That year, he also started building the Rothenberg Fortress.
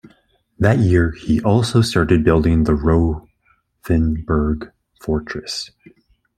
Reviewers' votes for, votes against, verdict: 1, 2, rejected